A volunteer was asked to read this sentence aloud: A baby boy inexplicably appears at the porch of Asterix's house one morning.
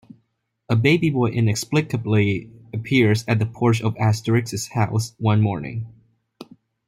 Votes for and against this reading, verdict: 2, 0, accepted